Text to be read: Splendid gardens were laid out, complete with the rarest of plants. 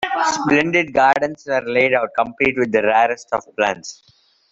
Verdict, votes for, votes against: accepted, 2, 1